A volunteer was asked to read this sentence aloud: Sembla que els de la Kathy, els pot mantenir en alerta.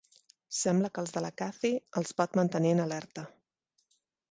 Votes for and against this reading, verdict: 2, 0, accepted